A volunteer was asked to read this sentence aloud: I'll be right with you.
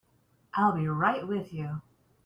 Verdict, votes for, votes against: accepted, 2, 0